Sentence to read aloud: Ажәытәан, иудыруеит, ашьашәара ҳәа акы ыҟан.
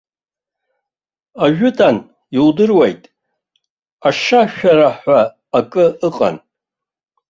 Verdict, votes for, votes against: rejected, 0, 2